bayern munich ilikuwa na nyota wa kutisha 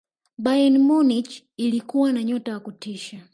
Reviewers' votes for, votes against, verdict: 1, 2, rejected